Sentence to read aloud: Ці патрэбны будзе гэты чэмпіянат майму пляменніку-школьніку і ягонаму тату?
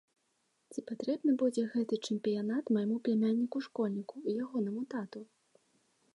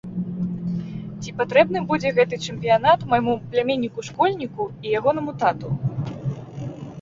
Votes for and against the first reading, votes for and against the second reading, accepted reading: 1, 2, 2, 0, second